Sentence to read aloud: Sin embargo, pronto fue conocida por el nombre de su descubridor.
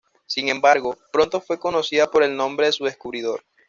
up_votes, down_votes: 2, 0